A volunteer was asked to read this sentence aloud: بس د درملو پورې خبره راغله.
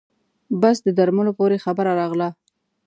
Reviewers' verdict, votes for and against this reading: accepted, 2, 0